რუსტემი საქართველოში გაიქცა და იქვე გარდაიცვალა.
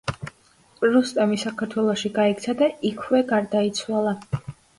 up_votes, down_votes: 2, 0